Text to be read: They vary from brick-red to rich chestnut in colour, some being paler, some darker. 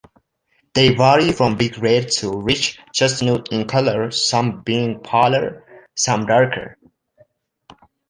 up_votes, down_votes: 2, 0